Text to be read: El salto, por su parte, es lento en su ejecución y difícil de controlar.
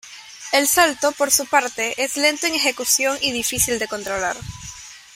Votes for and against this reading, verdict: 0, 2, rejected